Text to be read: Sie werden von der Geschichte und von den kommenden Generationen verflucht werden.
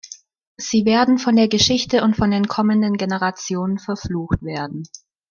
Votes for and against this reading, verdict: 2, 0, accepted